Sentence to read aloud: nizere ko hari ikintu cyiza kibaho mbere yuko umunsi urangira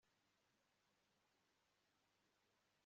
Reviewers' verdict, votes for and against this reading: rejected, 1, 3